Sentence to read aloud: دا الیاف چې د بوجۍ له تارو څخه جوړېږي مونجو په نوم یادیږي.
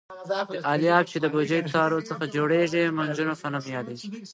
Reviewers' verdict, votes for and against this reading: accepted, 2, 0